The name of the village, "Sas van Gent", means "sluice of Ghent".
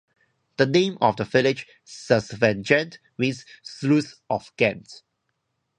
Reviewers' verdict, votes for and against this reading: accepted, 2, 0